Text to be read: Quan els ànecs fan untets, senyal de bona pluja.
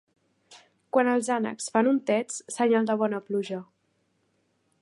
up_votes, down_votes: 2, 0